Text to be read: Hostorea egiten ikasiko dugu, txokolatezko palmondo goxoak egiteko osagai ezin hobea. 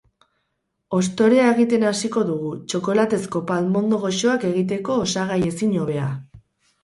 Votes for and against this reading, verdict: 2, 2, rejected